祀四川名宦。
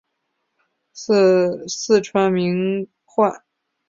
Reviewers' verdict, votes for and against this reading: accepted, 3, 2